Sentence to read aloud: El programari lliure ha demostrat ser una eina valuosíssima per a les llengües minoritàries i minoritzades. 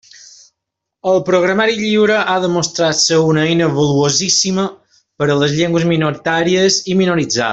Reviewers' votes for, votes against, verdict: 2, 0, accepted